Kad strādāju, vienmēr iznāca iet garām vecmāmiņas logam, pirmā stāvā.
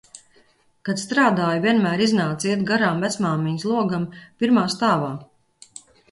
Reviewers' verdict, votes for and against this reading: accepted, 2, 0